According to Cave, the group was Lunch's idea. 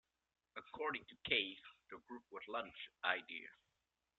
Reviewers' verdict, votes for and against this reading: accepted, 2, 0